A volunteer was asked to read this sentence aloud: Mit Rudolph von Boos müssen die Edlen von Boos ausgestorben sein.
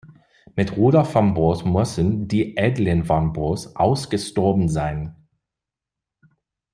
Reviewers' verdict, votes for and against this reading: rejected, 0, 2